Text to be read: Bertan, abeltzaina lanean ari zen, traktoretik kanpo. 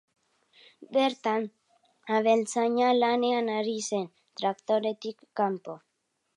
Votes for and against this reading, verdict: 2, 0, accepted